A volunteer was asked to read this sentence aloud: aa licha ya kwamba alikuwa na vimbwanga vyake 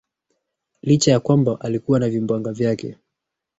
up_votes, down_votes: 1, 2